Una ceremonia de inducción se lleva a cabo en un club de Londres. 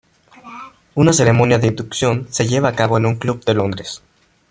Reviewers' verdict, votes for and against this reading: accepted, 2, 1